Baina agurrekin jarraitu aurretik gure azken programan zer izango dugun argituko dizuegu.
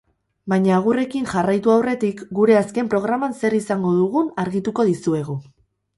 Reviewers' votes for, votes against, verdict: 4, 0, accepted